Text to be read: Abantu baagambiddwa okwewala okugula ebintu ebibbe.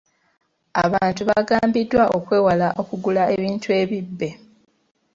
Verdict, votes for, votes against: rejected, 0, 2